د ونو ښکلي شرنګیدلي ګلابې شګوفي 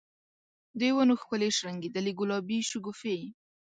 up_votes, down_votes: 2, 0